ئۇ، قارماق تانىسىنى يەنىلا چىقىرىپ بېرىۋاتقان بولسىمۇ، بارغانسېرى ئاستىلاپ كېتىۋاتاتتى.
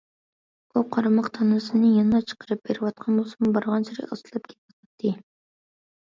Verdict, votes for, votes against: rejected, 1, 2